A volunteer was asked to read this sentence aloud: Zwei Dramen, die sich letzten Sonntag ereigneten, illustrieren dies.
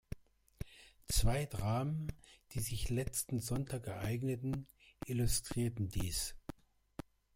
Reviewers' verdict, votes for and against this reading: accepted, 2, 0